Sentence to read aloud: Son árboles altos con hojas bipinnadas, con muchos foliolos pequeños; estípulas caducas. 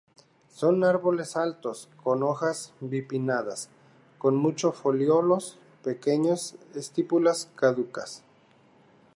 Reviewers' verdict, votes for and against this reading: accepted, 2, 0